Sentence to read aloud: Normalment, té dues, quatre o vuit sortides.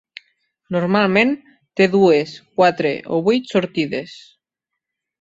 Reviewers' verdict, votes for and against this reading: accepted, 3, 0